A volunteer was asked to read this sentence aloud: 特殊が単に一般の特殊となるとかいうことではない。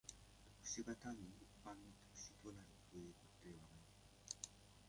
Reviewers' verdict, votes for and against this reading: rejected, 1, 2